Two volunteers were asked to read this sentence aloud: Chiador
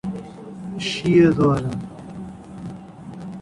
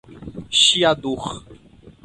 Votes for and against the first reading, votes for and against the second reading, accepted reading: 0, 2, 4, 0, second